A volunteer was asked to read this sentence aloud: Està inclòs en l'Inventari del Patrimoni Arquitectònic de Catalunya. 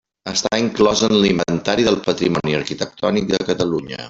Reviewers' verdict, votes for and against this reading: rejected, 1, 2